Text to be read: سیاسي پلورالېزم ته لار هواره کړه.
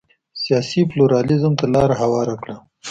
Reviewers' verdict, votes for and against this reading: accepted, 2, 0